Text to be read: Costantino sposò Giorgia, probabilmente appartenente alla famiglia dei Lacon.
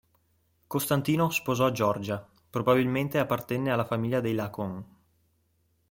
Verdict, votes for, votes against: rejected, 0, 2